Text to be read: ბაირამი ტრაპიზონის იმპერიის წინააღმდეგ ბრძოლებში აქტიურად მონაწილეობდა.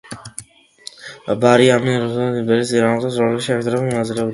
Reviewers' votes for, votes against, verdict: 0, 2, rejected